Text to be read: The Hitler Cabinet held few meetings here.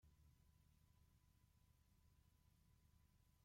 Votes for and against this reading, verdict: 0, 2, rejected